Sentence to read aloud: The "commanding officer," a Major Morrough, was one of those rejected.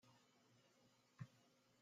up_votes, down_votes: 0, 2